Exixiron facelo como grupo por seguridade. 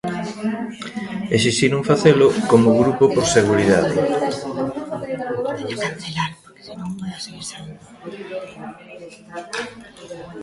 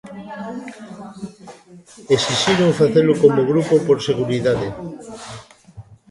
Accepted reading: second